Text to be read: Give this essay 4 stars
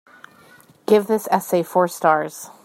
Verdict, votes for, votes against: rejected, 0, 2